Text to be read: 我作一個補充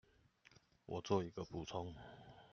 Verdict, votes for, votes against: accepted, 2, 0